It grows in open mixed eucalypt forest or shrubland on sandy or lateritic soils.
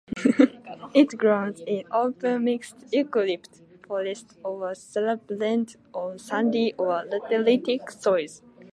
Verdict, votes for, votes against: rejected, 0, 2